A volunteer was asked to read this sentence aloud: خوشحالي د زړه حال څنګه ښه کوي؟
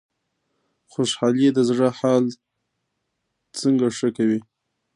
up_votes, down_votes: 2, 1